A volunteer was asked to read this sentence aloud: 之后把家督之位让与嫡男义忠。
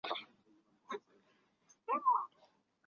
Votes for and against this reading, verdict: 0, 2, rejected